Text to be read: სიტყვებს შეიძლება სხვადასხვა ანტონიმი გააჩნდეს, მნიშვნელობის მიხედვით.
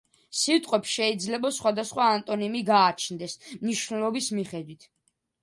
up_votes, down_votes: 2, 0